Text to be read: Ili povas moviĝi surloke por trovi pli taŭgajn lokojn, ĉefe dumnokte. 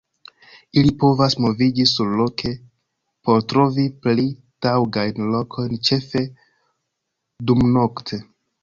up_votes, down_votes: 1, 2